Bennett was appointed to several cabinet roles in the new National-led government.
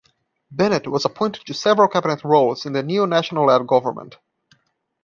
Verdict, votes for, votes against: accepted, 2, 1